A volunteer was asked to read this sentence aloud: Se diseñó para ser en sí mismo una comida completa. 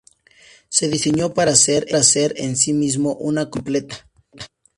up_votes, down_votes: 0, 2